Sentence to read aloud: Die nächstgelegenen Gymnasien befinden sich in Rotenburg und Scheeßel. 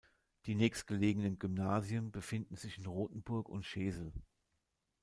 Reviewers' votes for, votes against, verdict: 2, 0, accepted